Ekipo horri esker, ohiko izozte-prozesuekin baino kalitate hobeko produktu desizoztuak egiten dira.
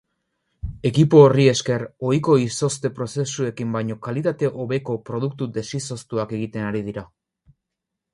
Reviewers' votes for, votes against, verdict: 0, 2, rejected